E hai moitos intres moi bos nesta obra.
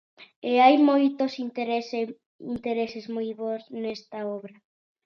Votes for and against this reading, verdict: 0, 2, rejected